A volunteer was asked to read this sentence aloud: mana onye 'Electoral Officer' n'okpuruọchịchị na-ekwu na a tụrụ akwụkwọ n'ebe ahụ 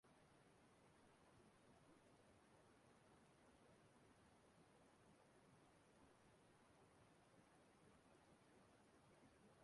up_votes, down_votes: 0, 2